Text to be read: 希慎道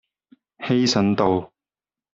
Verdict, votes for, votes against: rejected, 0, 2